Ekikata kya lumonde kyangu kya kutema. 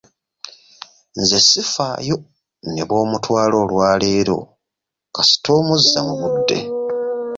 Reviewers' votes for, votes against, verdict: 0, 2, rejected